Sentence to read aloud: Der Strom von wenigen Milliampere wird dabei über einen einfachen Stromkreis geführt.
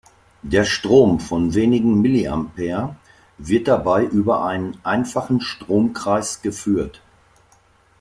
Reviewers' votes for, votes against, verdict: 2, 0, accepted